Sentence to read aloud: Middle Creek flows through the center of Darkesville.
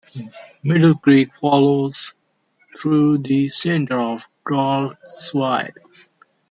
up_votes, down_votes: 0, 2